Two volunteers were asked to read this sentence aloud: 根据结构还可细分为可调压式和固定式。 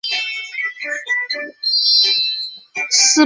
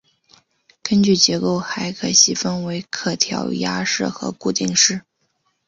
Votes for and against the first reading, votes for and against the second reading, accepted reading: 2, 0, 1, 2, first